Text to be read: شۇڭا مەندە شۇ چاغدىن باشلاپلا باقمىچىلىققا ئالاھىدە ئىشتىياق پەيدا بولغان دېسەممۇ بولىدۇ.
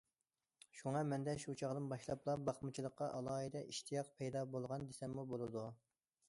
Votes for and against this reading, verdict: 2, 0, accepted